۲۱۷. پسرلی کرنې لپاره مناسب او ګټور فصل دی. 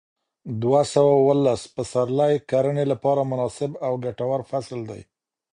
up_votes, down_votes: 0, 2